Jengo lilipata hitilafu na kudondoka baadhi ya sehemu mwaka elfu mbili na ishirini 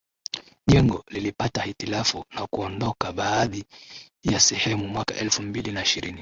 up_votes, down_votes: 2, 0